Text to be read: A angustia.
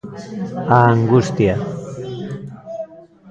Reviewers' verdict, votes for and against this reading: rejected, 1, 2